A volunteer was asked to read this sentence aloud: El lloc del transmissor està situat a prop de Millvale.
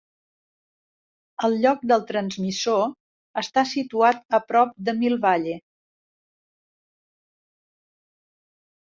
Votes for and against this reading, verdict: 1, 3, rejected